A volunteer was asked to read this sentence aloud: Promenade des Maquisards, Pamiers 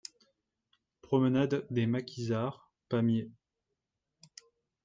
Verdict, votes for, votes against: accepted, 2, 0